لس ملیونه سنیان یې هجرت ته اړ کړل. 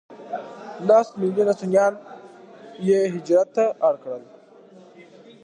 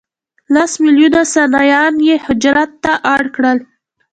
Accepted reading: first